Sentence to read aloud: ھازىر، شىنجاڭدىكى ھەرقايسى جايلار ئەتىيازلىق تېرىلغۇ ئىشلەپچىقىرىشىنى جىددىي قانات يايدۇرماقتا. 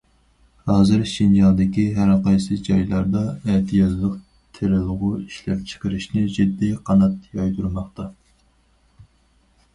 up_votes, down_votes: 0, 4